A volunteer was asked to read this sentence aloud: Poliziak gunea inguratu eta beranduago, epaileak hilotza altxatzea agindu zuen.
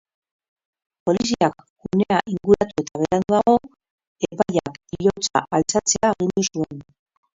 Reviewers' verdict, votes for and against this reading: rejected, 0, 4